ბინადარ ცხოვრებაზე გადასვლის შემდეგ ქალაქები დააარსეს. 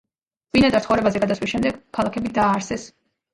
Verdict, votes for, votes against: accepted, 2, 1